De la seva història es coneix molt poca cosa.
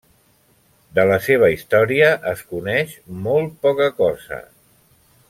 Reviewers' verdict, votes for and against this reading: accepted, 3, 0